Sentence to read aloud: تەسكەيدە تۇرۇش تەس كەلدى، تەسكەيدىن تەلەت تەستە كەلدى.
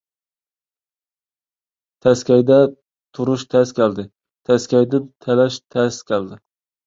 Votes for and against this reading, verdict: 1, 2, rejected